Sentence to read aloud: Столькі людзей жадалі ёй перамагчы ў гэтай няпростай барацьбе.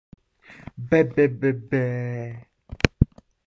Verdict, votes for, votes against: rejected, 1, 2